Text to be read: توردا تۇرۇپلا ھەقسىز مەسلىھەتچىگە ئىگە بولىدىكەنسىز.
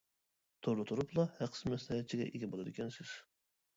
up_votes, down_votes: 1, 2